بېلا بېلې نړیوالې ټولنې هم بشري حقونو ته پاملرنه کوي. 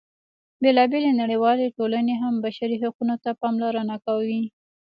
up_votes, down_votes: 2, 0